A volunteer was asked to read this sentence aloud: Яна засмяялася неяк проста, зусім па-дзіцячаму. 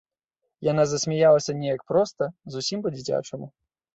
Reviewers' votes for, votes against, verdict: 3, 0, accepted